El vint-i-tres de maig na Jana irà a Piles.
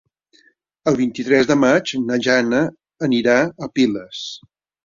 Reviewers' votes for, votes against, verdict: 0, 2, rejected